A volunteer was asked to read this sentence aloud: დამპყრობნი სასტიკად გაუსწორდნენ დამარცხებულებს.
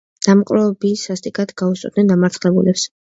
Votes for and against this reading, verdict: 1, 2, rejected